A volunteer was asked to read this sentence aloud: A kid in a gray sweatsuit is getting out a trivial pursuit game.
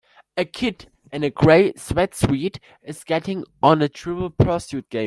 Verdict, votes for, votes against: rejected, 0, 3